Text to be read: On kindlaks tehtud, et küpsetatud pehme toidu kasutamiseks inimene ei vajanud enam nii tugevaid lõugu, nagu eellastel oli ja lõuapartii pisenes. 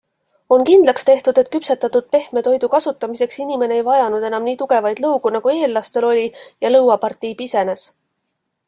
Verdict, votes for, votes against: accepted, 2, 0